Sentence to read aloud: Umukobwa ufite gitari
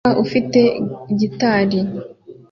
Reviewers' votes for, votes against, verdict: 0, 2, rejected